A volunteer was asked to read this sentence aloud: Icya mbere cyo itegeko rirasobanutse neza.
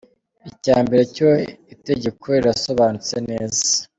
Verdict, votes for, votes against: accepted, 3, 0